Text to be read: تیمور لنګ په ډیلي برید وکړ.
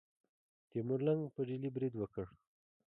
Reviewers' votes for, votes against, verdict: 2, 0, accepted